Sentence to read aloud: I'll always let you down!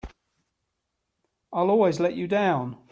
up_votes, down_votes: 3, 0